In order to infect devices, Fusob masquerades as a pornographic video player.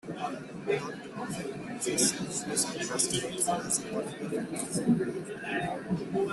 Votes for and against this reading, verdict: 0, 2, rejected